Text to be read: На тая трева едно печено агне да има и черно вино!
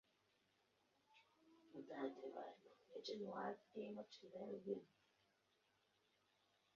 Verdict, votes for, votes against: rejected, 0, 2